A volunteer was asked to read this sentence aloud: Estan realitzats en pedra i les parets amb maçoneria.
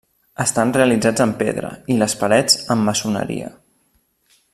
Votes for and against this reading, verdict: 3, 0, accepted